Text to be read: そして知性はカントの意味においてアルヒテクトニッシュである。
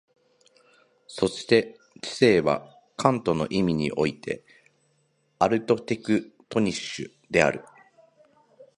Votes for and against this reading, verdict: 1, 2, rejected